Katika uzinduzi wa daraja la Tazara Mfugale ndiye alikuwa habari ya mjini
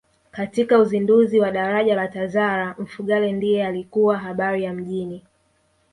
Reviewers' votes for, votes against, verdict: 2, 1, accepted